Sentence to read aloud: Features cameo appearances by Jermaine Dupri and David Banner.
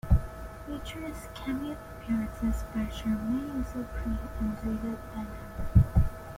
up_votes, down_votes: 0, 2